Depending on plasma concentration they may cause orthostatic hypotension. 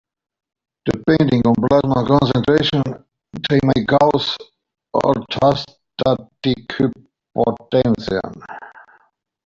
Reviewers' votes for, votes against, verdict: 0, 2, rejected